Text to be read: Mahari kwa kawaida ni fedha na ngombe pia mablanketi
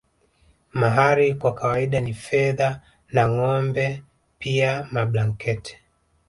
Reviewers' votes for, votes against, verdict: 0, 2, rejected